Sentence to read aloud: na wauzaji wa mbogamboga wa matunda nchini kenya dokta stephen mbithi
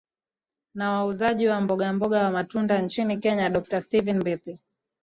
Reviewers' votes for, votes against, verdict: 3, 1, accepted